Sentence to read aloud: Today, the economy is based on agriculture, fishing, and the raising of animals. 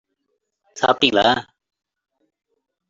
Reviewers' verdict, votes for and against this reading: rejected, 0, 2